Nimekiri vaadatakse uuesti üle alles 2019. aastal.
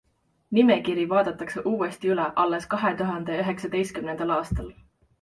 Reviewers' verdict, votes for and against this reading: rejected, 0, 2